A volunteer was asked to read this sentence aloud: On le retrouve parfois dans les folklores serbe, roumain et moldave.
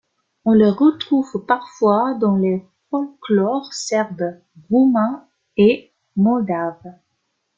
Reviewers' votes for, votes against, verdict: 2, 0, accepted